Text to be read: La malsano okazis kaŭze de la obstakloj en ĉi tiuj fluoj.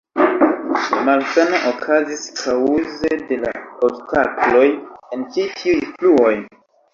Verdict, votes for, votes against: rejected, 1, 2